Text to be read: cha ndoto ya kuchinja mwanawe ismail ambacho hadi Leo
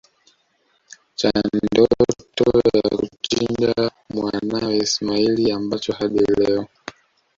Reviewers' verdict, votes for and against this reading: rejected, 0, 2